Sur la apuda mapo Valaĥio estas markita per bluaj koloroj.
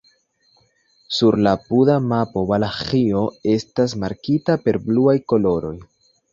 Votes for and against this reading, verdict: 2, 0, accepted